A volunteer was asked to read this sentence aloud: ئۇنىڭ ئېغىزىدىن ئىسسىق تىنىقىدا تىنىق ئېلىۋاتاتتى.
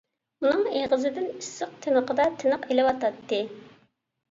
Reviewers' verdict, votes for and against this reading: accepted, 2, 0